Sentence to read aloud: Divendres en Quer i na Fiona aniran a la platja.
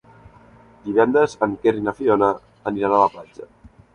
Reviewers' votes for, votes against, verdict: 3, 0, accepted